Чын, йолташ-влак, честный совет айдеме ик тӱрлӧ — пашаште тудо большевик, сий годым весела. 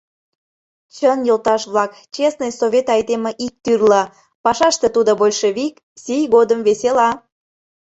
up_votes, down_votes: 2, 0